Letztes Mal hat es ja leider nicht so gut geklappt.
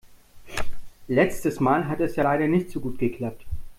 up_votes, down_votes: 2, 0